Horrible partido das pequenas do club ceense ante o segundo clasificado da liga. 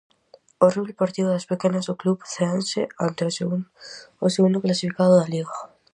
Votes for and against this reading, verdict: 0, 4, rejected